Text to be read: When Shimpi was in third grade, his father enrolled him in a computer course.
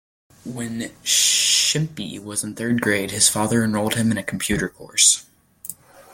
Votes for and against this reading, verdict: 2, 0, accepted